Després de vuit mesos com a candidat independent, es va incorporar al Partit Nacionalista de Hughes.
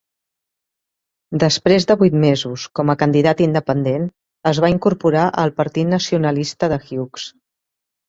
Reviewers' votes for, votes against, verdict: 2, 0, accepted